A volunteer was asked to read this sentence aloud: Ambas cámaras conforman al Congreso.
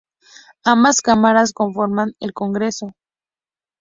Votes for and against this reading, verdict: 2, 0, accepted